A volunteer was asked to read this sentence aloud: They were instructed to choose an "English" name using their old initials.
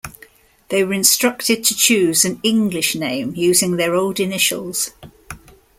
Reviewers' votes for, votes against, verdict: 2, 0, accepted